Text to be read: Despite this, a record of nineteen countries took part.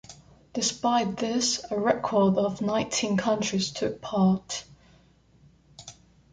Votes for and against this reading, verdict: 2, 0, accepted